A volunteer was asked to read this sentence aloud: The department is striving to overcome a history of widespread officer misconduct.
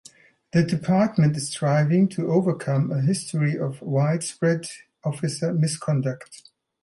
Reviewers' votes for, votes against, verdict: 2, 0, accepted